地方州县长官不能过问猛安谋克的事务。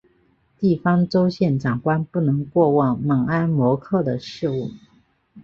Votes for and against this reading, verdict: 1, 2, rejected